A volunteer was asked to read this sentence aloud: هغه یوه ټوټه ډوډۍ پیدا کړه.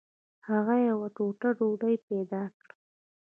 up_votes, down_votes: 2, 1